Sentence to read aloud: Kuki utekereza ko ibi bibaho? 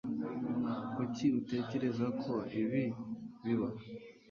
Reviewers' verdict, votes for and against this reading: accepted, 2, 0